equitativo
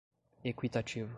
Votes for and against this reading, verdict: 2, 1, accepted